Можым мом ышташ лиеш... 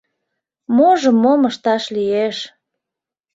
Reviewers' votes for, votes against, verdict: 2, 0, accepted